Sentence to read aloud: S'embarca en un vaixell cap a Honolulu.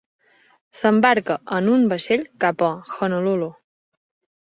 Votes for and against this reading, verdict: 4, 0, accepted